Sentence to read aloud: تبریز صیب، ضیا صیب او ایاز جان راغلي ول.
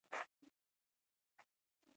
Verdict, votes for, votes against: accepted, 2, 0